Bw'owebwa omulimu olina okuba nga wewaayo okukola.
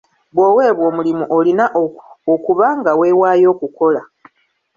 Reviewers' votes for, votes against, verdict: 2, 0, accepted